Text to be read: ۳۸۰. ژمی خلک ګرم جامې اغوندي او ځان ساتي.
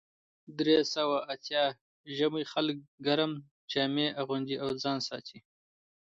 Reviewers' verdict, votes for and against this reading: rejected, 0, 2